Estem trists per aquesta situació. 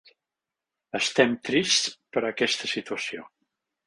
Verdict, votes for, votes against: accepted, 3, 0